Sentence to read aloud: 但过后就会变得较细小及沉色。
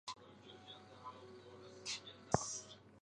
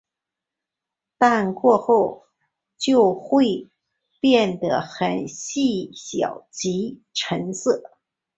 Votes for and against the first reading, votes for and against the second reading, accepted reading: 1, 2, 3, 2, second